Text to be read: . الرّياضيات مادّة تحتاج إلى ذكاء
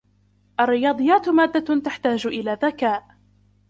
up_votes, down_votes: 2, 1